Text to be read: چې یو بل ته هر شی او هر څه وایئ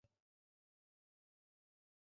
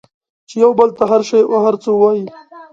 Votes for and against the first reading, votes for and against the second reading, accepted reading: 0, 2, 2, 0, second